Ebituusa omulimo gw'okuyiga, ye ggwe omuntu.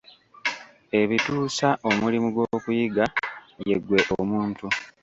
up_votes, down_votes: 0, 2